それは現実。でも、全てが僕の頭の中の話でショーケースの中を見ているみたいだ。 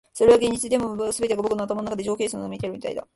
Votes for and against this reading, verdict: 1, 2, rejected